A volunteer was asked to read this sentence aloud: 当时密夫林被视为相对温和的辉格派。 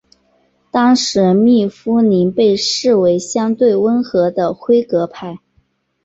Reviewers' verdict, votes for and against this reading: accepted, 2, 0